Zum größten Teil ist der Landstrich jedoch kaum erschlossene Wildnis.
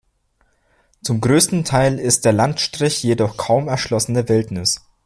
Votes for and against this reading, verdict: 2, 0, accepted